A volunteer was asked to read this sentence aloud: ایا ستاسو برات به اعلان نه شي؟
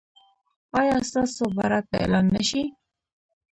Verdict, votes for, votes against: rejected, 1, 2